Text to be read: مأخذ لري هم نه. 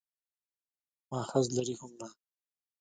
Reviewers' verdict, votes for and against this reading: rejected, 1, 2